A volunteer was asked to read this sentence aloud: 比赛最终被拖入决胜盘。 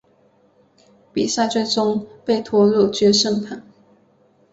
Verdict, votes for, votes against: accepted, 3, 0